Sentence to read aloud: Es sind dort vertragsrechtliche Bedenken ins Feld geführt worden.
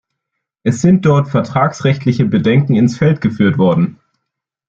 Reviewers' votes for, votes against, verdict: 2, 0, accepted